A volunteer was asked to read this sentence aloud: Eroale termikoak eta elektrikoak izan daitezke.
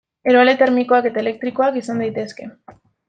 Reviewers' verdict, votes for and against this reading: accepted, 2, 0